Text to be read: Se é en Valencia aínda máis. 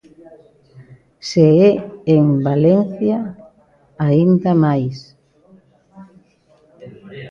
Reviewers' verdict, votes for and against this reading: rejected, 0, 2